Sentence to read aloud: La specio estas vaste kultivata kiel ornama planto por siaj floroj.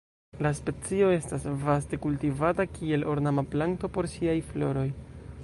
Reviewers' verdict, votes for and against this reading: rejected, 0, 2